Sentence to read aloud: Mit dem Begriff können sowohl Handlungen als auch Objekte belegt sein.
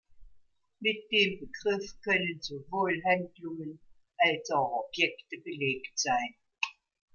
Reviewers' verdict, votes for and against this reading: accepted, 2, 0